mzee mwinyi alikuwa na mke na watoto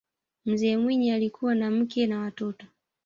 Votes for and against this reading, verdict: 3, 0, accepted